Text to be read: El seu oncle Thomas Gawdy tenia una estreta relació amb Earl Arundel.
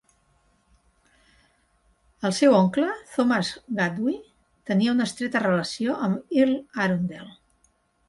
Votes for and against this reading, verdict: 2, 1, accepted